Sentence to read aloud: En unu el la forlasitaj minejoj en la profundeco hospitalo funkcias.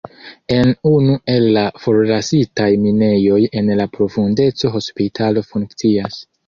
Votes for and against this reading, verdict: 0, 2, rejected